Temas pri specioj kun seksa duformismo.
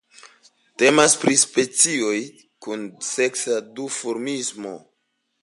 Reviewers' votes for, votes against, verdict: 2, 0, accepted